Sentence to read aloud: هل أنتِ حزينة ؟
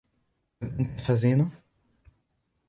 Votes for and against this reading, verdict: 2, 3, rejected